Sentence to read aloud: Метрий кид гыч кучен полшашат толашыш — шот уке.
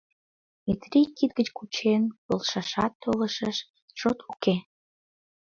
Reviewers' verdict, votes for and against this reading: rejected, 1, 3